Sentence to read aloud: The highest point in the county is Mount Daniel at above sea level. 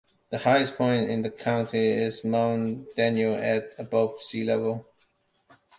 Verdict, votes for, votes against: accepted, 2, 0